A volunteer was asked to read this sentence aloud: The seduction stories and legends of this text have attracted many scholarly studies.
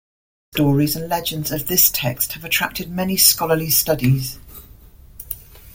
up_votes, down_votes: 0, 2